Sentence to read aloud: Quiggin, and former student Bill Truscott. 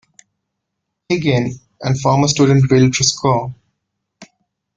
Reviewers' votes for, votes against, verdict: 1, 2, rejected